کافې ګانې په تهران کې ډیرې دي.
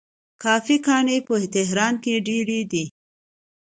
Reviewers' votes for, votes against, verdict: 2, 0, accepted